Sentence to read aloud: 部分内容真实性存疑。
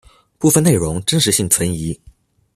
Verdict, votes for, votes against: accepted, 2, 0